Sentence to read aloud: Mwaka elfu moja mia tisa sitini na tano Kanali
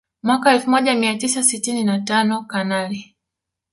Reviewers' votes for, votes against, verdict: 1, 2, rejected